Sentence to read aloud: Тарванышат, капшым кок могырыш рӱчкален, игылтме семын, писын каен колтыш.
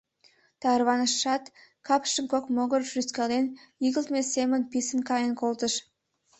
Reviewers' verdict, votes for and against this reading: rejected, 0, 2